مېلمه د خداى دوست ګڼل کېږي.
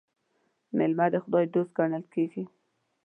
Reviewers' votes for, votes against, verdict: 2, 0, accepted